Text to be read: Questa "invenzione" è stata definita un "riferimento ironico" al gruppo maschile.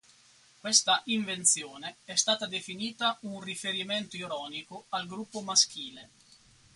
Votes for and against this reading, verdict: 2, 2, rejected